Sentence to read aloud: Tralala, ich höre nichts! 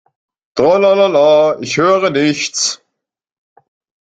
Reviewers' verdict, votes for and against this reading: rejected, 0, 2